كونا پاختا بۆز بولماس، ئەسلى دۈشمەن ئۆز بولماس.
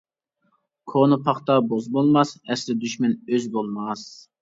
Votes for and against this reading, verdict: 1, 2, rejected